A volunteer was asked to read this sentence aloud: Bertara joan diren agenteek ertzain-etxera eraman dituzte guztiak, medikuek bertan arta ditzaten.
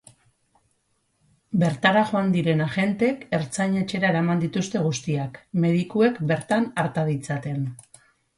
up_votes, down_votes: 6, 0